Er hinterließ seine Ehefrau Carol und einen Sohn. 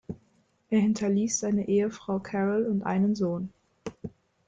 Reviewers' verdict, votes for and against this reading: accepted, 2, 0